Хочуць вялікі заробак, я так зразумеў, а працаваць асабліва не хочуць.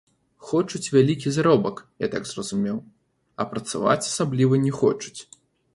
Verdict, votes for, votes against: rejected, 0, 2